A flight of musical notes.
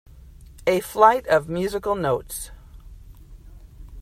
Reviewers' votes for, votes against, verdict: 2, 0, accepted